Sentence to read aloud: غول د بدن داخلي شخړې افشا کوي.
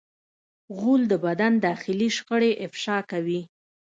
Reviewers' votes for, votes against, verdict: 2, 0, accepted